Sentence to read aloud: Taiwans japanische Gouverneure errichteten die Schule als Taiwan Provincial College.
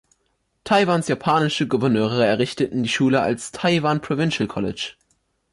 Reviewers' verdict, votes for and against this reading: accepted, 2, 0